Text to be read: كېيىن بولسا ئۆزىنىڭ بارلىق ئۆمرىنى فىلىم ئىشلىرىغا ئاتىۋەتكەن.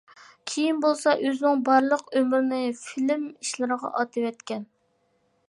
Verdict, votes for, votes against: accepted, 2, 1